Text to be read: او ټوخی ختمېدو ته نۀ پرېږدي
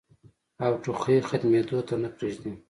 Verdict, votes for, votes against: accepted, 2, 0